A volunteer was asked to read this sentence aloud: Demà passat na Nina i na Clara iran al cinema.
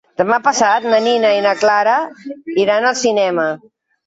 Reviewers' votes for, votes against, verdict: 2, 1, accepted